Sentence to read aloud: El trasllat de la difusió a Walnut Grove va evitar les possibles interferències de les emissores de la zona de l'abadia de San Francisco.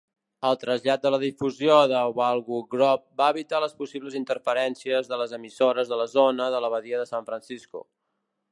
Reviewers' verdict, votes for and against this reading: rejected, 0, 2